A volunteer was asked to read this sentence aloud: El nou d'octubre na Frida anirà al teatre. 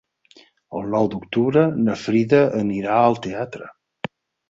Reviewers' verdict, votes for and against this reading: accepted, 4, 0